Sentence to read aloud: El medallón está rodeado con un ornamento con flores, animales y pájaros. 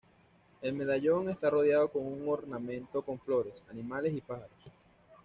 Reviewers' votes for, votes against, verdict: 2, 0, accepted